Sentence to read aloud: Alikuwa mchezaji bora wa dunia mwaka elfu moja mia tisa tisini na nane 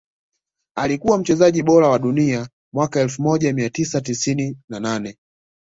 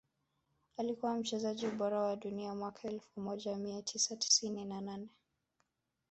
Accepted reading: first